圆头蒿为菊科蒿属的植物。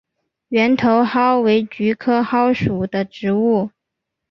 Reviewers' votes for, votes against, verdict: 3, 1, accepted